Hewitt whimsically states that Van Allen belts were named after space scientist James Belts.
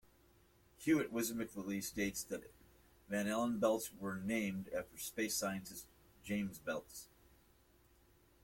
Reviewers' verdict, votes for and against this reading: accepted, 2, 1